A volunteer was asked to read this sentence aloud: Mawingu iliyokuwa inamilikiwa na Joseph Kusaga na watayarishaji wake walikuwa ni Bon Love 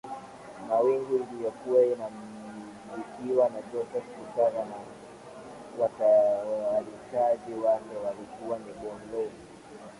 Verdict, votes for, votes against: rejected, 1, 2